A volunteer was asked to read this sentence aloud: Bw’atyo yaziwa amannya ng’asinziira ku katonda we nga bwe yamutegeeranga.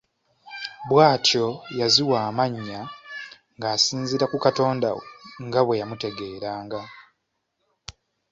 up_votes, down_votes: 2, 0